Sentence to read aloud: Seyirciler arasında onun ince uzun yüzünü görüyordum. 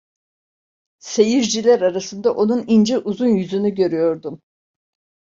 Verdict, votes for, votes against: accepted, 2, 0